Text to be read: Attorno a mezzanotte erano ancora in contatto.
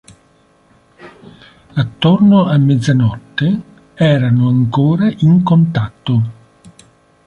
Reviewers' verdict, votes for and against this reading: accepted, 3, 0